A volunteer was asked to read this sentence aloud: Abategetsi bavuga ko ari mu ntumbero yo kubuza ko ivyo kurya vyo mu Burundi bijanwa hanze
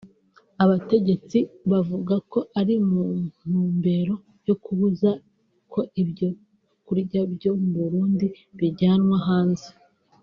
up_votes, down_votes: 1, 2